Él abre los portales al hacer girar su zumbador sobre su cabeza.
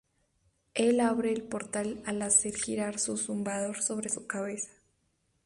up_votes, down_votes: 0, 2